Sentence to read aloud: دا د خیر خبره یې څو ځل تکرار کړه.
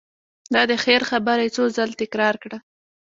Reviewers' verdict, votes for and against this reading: rejected, 1, 2